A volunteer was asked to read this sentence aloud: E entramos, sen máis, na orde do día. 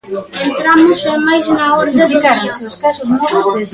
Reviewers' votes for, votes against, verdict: 0, 2, rejected